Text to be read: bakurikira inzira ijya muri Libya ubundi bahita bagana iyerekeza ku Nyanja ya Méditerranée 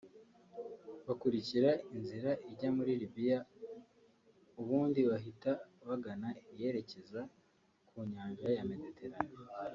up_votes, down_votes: 1, 2